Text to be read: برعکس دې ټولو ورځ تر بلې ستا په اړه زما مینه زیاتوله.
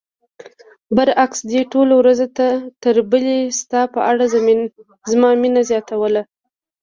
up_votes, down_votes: 0, 2